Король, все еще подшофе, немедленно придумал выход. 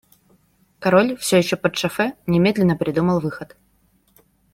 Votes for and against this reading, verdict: 2, 0, accepted